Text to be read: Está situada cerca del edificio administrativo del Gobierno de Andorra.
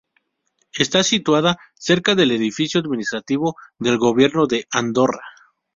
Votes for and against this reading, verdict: 2, 0, accepted